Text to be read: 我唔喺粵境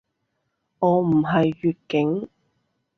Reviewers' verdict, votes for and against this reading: rejected, 0, 2